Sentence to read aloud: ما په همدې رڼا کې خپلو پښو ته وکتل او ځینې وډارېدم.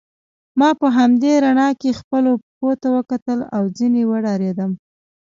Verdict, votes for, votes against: accepted, 2, 1